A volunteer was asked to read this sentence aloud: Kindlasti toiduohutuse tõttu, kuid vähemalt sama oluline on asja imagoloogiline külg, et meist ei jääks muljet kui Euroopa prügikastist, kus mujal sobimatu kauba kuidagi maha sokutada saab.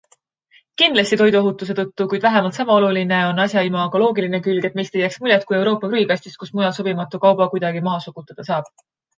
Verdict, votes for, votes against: accepted, 2, 0